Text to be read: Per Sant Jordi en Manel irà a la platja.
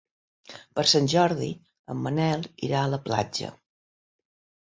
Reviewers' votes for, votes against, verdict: 2, 0, accepted